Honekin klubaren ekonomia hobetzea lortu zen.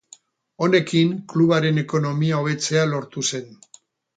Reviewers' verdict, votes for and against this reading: rejected, 2, 2